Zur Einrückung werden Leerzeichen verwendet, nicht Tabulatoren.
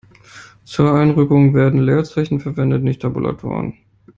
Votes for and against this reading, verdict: 2, 0, accepted